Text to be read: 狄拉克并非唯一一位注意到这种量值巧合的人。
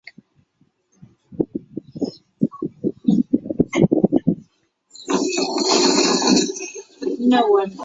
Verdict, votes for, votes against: rejected, 1, 3